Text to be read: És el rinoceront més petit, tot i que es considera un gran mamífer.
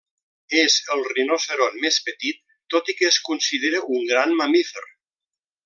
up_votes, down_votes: 2, 0